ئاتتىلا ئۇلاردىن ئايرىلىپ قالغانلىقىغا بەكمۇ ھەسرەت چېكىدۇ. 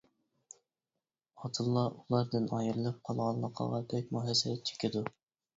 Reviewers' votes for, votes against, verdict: 1, 2, rejected